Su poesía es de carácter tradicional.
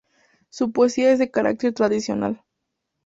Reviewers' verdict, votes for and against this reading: accepted, 4, 0